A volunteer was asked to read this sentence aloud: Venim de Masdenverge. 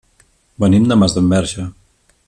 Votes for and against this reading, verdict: 3, 0, accepted